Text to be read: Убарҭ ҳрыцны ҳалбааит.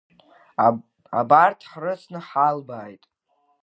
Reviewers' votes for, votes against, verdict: 1, 5, rejected